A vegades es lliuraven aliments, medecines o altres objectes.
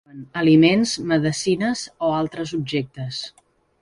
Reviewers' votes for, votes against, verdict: 0, 3, rejected